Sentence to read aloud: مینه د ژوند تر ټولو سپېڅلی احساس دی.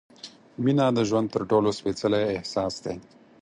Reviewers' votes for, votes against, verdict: 4, 0, accepted